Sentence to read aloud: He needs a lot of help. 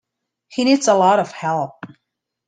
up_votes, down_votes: 2, 0